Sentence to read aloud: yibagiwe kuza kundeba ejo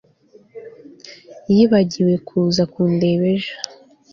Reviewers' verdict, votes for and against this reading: accepted, 2, 0